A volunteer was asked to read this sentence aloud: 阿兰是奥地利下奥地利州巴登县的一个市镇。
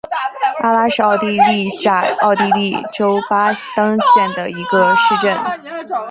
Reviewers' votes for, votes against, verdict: 1, 2, rejected